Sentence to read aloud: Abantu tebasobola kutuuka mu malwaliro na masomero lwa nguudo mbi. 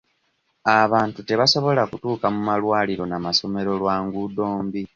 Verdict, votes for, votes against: accepted, 2, 0